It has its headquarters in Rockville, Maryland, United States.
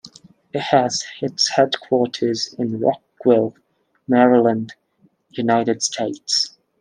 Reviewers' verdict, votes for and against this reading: accepted, 2, 0